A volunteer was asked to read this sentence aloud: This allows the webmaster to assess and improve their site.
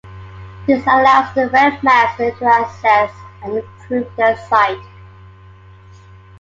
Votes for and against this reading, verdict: 2, 0, accepted